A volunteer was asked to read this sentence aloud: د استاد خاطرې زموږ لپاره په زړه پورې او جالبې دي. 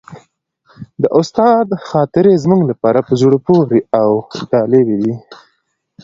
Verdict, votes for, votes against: accepted, 2, 0